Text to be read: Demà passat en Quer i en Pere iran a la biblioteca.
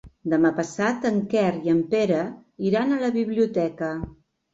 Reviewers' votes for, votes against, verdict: 3, 0, accepted